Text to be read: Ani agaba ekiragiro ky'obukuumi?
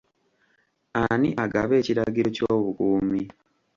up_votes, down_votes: 2, 0